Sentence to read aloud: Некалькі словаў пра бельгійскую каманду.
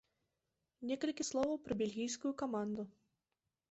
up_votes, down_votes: 2, 0